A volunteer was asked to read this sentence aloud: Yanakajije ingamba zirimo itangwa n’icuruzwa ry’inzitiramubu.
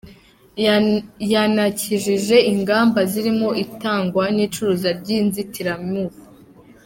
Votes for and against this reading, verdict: 1, 2, rejected